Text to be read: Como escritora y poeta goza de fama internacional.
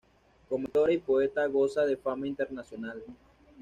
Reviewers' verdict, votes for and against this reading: rejected, 1, 2